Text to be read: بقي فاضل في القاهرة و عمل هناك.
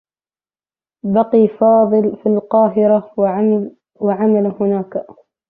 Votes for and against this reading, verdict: 0, 2, rejected